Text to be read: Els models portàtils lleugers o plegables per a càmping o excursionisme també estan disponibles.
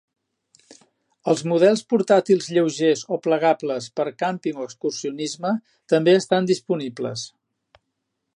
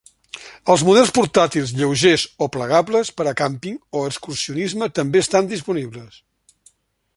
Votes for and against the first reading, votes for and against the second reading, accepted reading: 1, 2, 3, 0, second